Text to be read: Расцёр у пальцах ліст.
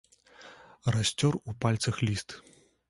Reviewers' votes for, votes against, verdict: 2, 0, accepted